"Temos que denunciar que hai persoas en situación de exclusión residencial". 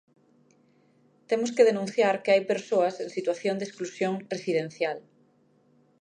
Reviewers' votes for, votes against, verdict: 2, 0, accepted